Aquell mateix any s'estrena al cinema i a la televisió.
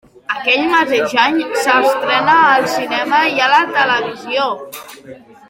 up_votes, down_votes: 0, 2